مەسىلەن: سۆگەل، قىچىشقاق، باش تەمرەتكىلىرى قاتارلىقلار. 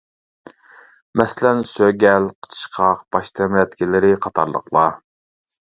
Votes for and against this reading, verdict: 2, 0, accepted